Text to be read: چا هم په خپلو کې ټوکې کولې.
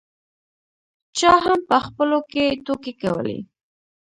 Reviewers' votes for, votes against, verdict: 1, 2, rejected